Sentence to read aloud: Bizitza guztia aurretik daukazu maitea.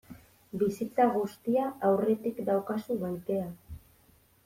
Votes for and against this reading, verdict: 0, 2, rejected